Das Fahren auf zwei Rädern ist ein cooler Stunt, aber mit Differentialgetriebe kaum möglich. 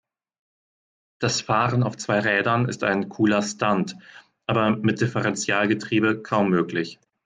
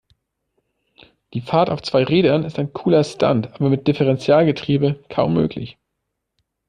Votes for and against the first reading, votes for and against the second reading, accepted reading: 2, 0, 0, 3, first